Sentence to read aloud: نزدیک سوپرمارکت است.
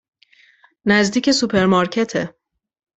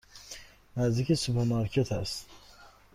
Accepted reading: second